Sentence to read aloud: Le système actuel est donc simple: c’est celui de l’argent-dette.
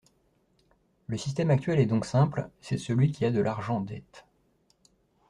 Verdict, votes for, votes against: rejected, 0, 2